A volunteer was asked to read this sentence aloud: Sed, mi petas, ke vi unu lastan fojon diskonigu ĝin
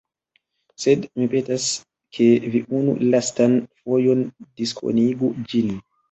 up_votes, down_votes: 0, 2